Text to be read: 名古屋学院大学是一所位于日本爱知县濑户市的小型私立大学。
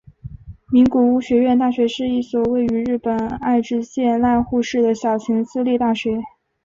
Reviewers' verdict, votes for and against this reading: accepted, 2, 0